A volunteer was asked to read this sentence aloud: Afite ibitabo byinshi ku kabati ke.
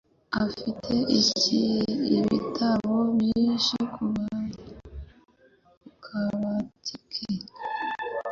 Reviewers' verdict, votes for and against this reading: rejected, 1, 2